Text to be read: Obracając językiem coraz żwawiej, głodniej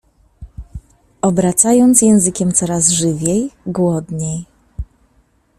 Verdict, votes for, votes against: rejected, 0, 2